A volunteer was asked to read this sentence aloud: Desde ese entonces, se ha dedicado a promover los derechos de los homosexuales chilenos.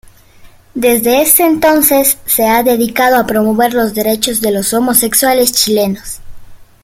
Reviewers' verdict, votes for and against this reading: accepted, 2, 1